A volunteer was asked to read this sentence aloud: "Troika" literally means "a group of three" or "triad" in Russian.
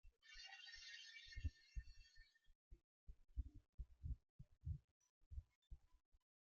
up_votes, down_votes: 0, 2